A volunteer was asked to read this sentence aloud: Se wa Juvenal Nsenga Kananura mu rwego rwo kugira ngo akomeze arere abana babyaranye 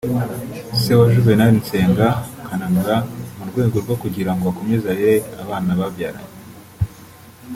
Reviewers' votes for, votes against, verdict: 0, 2, rejected